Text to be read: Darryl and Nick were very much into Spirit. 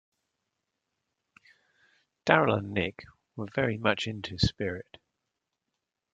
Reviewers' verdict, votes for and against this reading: accepted, 2, 0